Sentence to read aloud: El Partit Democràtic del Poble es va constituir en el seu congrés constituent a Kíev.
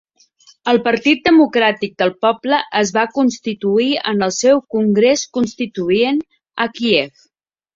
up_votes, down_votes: 0, 2